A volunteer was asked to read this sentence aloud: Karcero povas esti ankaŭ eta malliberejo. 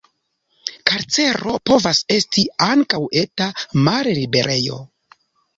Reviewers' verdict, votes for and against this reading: rejected, 1, 2